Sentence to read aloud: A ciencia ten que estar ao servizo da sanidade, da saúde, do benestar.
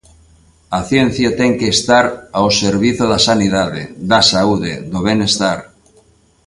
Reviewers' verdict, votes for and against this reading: accepted, 2, 0